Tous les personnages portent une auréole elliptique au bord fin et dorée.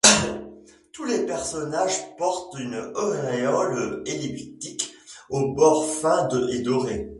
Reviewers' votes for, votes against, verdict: 0, 2, rejected